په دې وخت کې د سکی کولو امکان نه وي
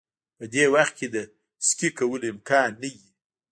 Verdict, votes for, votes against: rejected, 1, 2